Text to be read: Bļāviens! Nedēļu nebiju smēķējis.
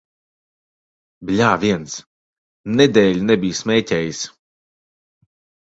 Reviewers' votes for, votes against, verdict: 2, 0, accepted